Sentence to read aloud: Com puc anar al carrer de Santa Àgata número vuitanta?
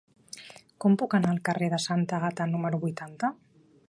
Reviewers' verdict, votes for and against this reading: accepted, 4, 0